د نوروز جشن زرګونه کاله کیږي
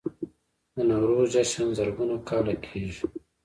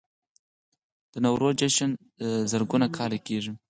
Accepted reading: second